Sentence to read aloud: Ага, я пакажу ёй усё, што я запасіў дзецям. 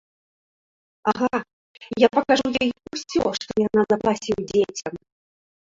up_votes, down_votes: 2, 1